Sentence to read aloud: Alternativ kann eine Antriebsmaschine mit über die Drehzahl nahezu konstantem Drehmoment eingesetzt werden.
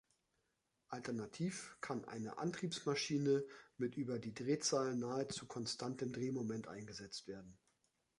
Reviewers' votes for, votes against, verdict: 2, 0, accepted